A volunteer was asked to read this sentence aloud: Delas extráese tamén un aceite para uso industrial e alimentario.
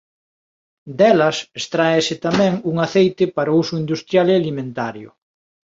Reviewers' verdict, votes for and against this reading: accepted, 2, 0